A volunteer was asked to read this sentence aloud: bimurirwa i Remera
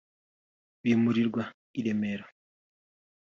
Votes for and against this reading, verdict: 3, 0, accepted